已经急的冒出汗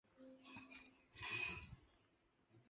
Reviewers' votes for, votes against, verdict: 0, 2, rejected